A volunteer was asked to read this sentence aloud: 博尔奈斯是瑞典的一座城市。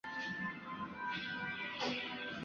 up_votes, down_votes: 0, 2